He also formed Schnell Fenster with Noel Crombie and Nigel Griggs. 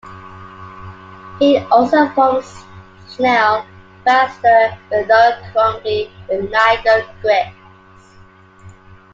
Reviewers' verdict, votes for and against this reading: rejected, 0, 2